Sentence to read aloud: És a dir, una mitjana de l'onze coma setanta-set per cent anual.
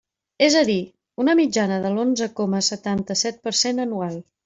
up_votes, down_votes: 3, 1